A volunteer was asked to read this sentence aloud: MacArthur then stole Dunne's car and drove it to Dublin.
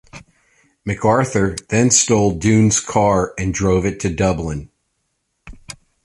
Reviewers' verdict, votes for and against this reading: accepted, 2, 0